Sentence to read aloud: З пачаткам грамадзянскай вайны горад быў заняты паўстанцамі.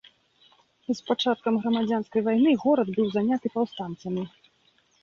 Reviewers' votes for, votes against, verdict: 2, 0, accepted